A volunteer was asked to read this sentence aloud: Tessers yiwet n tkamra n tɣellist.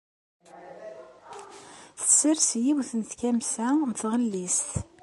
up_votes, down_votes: 2, 0